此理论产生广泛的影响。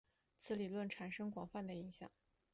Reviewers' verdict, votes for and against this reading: rejected, 1, 2